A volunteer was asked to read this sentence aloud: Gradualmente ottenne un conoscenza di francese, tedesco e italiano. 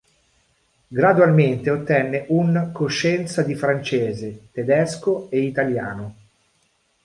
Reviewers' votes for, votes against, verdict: 0, 2, rejected